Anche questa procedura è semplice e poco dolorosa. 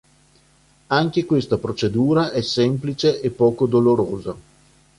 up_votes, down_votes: 3, 0